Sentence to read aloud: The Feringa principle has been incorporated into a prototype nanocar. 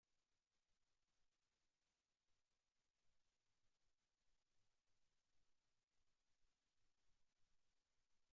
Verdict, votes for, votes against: rejected, 0, 2